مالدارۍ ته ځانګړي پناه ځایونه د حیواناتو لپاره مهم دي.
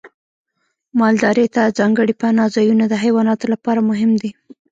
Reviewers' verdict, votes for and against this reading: rejected, 0, 2